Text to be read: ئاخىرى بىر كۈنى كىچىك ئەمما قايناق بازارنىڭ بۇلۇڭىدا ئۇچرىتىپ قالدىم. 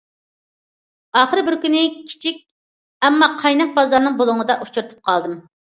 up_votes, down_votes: 2, 0